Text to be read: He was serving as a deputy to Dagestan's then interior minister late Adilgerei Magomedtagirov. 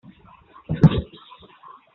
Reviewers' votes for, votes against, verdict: 0, 2, rejected